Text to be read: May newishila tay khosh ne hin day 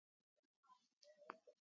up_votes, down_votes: 1, 2